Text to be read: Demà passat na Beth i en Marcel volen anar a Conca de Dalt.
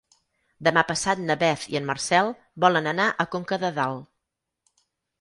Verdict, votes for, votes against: accepted, 12, 0